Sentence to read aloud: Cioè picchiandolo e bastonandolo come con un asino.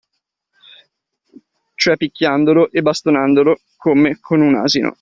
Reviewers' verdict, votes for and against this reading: accepted, 2, 0